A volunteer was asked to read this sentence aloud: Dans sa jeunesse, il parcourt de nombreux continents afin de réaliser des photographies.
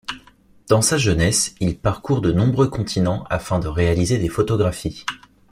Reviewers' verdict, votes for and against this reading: accepted, 2, 0